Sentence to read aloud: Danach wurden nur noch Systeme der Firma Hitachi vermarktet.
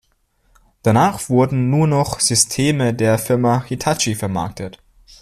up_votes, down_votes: 2, 0